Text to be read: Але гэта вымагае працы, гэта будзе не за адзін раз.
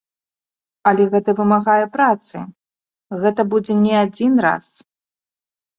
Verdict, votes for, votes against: rejected, 1, 2